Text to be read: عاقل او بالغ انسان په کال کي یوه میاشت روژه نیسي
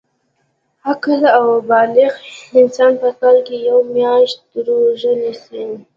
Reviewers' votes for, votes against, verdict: 2, 0, accepted